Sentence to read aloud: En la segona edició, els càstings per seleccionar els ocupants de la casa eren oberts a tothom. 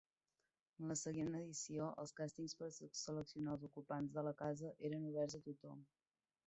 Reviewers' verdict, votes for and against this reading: rejected, 0, 2